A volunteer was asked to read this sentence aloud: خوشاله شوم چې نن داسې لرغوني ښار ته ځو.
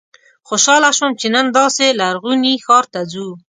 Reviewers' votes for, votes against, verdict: 2, 0, accepted